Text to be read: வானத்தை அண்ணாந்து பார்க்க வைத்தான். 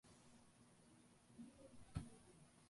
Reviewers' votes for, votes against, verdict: 0, 2, rejected